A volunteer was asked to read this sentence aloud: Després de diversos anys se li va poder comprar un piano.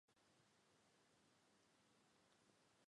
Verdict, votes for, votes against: rejected, 0, 2